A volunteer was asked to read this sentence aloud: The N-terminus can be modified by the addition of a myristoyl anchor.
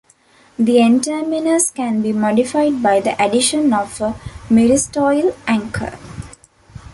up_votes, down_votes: 2, 1